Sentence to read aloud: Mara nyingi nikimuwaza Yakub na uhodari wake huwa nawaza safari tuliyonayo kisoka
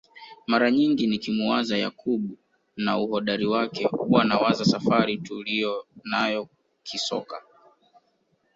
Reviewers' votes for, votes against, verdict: 1, 2, rejected